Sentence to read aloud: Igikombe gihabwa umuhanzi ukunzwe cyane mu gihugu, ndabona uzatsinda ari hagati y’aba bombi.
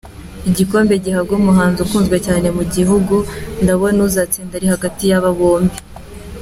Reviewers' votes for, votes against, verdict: 2, 0, accepted